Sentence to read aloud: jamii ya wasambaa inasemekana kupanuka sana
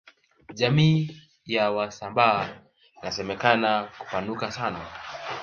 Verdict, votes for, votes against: accepted, 2, 1